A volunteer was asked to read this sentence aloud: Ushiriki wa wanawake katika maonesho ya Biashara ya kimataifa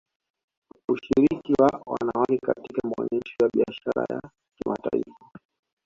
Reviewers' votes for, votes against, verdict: 0, 2, rejected